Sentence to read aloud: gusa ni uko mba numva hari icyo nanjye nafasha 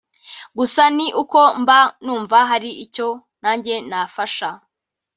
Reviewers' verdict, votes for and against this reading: accepted, 2, 1